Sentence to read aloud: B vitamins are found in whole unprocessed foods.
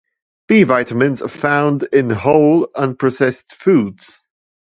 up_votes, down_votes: 2, 0